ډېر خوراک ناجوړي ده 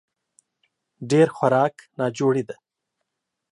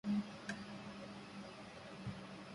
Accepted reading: first